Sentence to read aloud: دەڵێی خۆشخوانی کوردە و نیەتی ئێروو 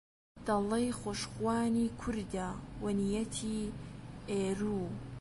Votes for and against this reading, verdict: 2, 0, accepted